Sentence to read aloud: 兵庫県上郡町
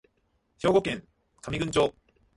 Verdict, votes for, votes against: accepted, 2, 1